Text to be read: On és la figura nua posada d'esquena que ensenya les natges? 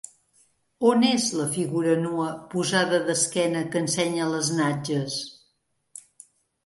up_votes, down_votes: 2, 0